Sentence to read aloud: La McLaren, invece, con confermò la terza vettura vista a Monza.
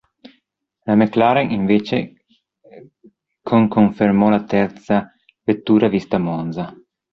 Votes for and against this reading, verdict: 1, 2, rejected